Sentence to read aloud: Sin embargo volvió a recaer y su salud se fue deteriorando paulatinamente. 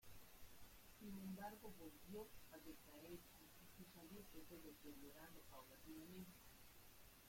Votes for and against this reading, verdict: 0, 2, rejected